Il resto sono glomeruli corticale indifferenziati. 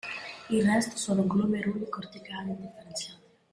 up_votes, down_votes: 0, 2